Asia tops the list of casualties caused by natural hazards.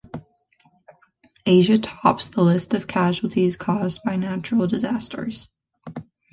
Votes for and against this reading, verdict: 0, 2, rejected